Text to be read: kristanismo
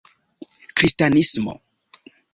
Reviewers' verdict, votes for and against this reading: accepted, 3, 0